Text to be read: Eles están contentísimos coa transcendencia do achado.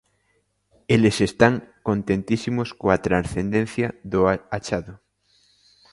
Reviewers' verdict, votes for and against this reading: accepted, 2, 1